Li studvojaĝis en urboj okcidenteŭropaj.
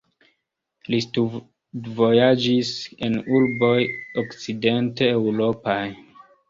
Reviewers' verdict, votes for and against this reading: rejected, 0, 2